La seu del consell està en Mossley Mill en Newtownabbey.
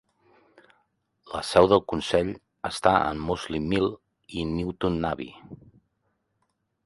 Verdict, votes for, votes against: rejected, 2, 3